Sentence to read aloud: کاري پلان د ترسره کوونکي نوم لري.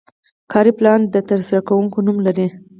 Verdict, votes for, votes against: accepted, 4, 0